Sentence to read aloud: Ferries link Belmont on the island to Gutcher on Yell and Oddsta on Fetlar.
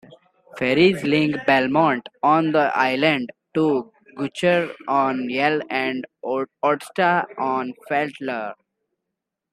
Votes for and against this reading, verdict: 1, 2, rejected